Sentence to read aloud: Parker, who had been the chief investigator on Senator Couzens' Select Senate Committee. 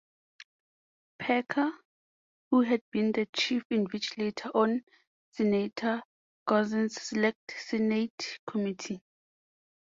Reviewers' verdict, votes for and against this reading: accepted, 2, 0